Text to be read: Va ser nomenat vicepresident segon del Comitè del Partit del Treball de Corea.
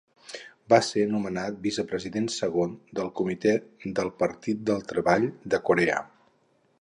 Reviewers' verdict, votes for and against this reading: accepted, 4, 0